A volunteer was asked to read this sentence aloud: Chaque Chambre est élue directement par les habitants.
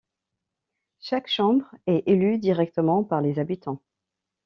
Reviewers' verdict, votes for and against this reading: accepted, 2, 0